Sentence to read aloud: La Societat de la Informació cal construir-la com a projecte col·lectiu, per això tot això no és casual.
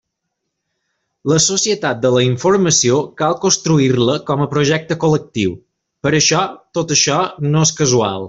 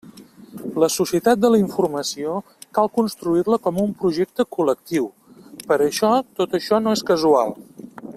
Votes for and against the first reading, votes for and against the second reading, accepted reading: 3, 0, 0, 2, first